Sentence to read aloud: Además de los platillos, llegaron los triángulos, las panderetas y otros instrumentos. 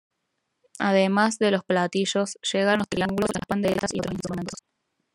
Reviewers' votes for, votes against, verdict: 2, 0, accepted